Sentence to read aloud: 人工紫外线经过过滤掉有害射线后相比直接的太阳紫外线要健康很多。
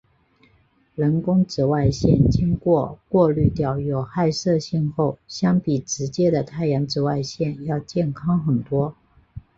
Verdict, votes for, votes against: accepted, 6, 2